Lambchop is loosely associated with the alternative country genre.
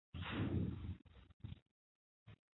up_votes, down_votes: 0, 2